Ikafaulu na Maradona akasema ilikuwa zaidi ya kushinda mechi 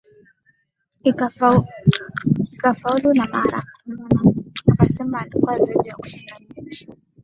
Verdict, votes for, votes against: rejected, 2, 4